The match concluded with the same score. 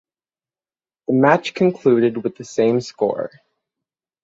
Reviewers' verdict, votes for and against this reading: rejected, 3, 6